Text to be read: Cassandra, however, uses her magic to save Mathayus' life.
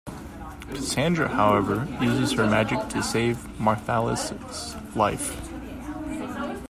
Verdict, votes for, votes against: rejected, 1, 2